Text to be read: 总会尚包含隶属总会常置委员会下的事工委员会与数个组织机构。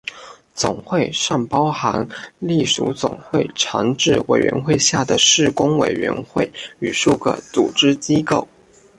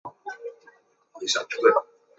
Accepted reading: first